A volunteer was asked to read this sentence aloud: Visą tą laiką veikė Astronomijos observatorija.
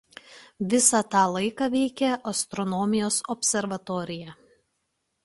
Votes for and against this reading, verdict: 2, 0, accepted